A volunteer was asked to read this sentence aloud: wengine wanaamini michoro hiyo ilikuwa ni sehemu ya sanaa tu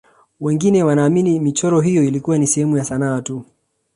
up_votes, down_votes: 2, 1